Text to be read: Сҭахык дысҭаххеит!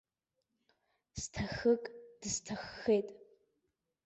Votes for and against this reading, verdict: 1, 2, rejected